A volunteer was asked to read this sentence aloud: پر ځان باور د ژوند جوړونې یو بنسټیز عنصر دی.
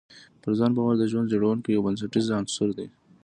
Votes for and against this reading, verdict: 2, 0, accepted